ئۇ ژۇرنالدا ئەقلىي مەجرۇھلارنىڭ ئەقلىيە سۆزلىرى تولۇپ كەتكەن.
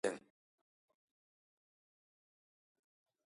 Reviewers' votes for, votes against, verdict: 0, 2, rejected